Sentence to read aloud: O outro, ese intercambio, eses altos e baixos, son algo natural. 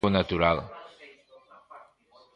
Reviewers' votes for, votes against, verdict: 0, 2, rejected